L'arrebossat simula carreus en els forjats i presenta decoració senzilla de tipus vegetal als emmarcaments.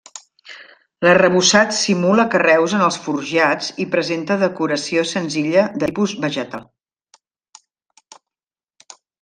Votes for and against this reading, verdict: 0, 2, rejected